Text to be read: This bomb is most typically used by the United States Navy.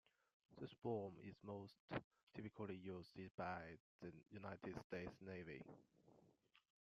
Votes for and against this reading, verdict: 0, 2, rejected